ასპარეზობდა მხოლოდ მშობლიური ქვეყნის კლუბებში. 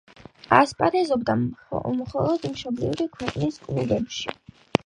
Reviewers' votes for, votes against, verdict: 6, 0, accepted